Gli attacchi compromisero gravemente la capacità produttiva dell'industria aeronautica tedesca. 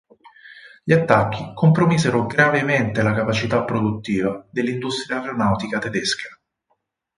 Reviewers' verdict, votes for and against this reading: accepted, 6, 2